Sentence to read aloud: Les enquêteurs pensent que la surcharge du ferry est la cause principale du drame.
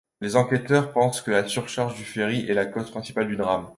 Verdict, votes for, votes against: accepted, 2, 0